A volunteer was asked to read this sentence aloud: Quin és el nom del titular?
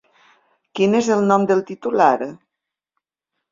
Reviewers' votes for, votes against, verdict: 3, 0, accepted